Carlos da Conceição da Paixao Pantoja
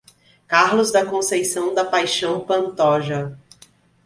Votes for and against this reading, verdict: 2, 0, accepted